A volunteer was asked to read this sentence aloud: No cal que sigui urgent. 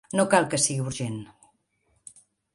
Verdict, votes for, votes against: accepted, 5, 0